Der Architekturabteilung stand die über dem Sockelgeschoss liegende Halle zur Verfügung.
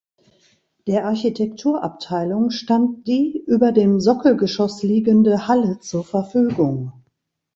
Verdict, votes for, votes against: accepted, 2, 0